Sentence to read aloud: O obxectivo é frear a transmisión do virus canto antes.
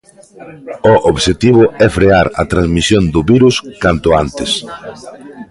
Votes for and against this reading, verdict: 2, 0, accepted